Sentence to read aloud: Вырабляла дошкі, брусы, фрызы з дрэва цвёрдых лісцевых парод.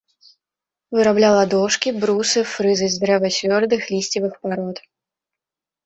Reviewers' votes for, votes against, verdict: 2, 1, accepted